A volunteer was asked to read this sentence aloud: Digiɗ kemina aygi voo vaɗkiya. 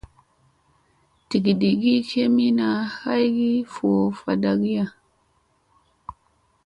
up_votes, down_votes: 2, 0